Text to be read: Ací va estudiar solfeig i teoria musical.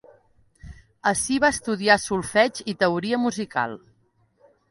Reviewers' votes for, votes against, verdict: 2, 0, accepted